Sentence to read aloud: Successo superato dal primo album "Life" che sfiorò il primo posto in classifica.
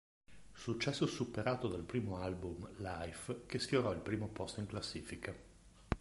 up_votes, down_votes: 2, 0